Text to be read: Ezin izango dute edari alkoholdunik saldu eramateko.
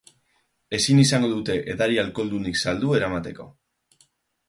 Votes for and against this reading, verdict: 4, 0, accepted